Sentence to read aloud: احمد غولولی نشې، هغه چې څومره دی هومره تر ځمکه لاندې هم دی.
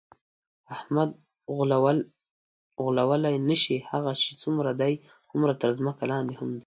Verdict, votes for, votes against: rejected, 0, 2